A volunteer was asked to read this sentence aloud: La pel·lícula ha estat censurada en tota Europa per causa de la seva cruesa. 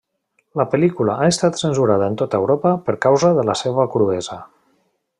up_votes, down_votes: 3, 1